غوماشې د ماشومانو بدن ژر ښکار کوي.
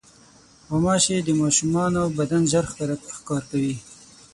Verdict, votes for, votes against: rejected, 3, 6